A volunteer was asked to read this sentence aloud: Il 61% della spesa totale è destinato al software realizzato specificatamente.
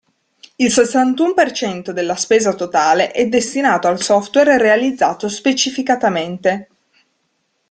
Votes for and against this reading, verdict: 0, 2, rejected